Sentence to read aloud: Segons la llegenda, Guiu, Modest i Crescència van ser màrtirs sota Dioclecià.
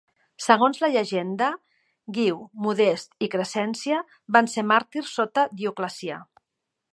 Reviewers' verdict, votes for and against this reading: accepted, 2, 0